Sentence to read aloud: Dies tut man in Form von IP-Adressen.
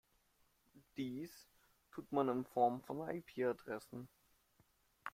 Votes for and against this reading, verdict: 0, 2, rejected